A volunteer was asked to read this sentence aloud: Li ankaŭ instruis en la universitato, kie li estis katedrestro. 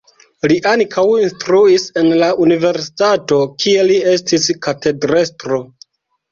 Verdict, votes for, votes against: rejected, 1, 2